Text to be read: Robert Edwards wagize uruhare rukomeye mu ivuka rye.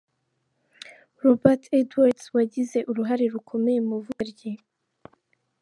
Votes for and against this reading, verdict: 2, 1, accepted